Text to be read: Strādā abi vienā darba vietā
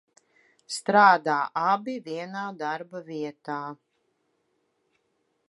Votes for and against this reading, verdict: 2, 0, accepted